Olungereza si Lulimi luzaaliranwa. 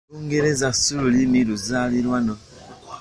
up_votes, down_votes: 1, 2